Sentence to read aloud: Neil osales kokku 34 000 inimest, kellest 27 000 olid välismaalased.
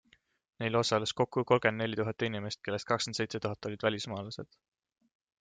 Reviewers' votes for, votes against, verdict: 0, 2, rejected